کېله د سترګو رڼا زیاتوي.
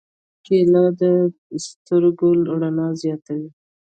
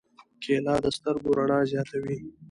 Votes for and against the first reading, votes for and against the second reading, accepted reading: 1, 2, 2, 0, second